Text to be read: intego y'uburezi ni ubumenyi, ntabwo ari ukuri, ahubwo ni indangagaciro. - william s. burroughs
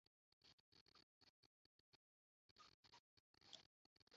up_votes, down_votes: 0, 2